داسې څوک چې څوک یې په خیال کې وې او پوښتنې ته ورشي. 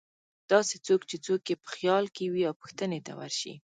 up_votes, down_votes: 2, 0